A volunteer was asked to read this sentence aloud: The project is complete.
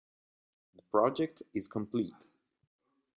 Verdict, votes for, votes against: accepted, 2, 1